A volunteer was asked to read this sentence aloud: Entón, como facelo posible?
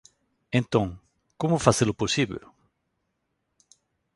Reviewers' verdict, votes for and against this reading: rejected, 1, 2